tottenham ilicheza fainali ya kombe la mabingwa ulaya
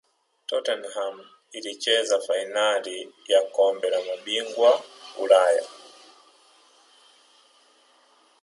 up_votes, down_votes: 2, 0